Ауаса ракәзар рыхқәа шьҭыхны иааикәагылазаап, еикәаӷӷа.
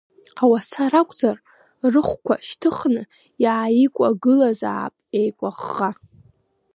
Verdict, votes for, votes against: rejected, 0, 2